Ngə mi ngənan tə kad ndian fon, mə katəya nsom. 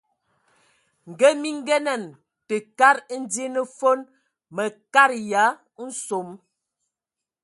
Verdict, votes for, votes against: accepted, 2, 0